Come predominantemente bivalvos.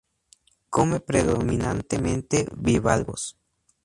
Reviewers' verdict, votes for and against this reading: accepted, 2, 0